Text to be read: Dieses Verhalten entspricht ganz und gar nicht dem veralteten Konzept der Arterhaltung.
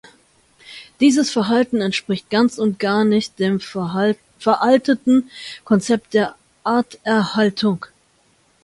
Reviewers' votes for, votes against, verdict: 0, 2, rejected